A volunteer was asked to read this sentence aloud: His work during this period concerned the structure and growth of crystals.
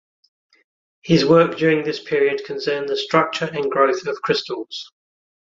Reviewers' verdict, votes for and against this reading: accepted, 6, 0